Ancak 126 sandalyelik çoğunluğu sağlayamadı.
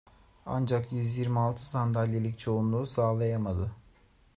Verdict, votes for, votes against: rejected, 0, 2